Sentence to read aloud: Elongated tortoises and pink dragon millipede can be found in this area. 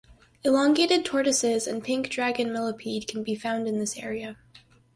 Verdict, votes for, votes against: accepted, 4, 0